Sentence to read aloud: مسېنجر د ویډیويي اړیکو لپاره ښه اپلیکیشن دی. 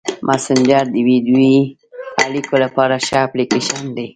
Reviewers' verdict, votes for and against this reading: rejected, 1, 2